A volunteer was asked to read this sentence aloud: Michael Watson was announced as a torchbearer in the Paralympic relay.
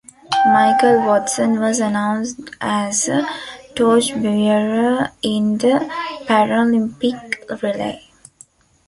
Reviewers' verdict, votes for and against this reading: accepted, 2, 0